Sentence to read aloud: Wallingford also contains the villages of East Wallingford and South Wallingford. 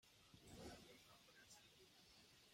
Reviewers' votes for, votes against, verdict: 0, 2, rejected